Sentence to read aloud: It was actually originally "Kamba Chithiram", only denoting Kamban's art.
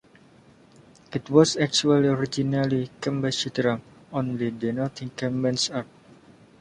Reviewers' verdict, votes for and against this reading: rejected, 1, 2